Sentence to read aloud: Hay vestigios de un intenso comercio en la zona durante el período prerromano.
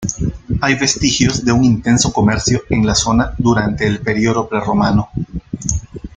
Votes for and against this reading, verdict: 1, 2, rejected